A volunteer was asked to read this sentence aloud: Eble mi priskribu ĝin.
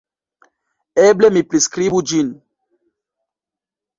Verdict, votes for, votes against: accepted, 2, 1